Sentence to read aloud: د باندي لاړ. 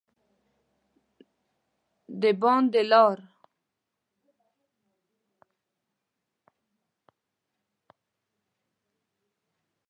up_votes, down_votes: 1, 2